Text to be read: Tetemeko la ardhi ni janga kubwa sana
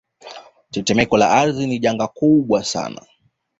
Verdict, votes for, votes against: accepted, 2, 1